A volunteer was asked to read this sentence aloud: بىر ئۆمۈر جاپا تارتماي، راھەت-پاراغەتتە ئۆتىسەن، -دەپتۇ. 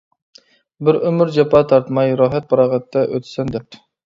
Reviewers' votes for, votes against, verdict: 2, 0, accepted